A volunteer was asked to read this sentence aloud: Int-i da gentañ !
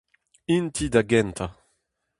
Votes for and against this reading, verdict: 0, 2, rejected